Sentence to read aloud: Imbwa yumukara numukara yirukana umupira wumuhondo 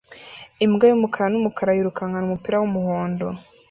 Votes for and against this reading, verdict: 2, 1, accepted